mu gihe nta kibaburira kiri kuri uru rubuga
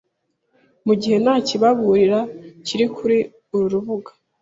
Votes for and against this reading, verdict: 1, 2, rejected